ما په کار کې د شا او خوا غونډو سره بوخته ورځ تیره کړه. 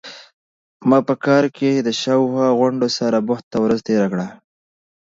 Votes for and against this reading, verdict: 2, 0, accepted